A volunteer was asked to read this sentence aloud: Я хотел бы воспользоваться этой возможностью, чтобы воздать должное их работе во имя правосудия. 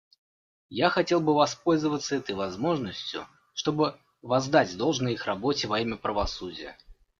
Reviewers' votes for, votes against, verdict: 2, 0, accepted